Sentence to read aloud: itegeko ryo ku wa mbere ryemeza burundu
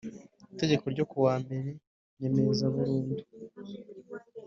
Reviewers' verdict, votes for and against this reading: accepted, 2, 0